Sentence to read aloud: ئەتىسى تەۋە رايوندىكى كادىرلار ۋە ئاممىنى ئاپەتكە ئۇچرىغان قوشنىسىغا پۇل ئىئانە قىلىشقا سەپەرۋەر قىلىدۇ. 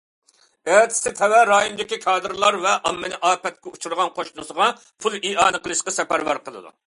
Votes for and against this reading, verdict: 2, 0, accepted